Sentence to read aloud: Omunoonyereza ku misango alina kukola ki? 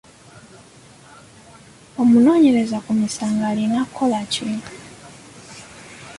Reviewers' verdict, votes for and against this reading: accepted, 2, 1